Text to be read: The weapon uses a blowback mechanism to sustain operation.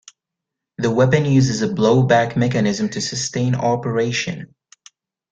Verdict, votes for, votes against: accepted, 2, 0